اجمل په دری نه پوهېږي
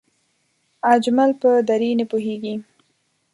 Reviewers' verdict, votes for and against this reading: accepted, 2, 0